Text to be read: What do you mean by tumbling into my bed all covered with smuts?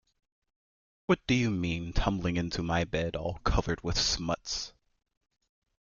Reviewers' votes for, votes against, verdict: 1, 2, rejected